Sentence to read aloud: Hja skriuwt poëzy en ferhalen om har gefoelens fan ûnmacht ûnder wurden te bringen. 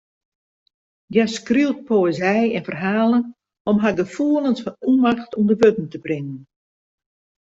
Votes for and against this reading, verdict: 2, 0, accepted